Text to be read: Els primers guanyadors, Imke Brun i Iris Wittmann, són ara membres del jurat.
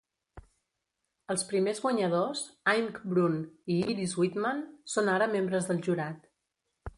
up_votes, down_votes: 0, 2